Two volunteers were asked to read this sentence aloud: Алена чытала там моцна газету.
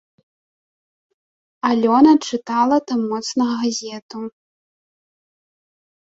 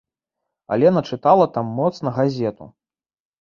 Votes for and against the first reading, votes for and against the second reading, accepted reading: 1, 2, 2, 0, second